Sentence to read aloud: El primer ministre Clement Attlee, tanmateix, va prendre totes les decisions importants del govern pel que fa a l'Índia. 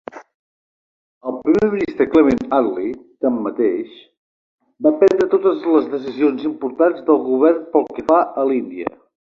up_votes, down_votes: 2, 0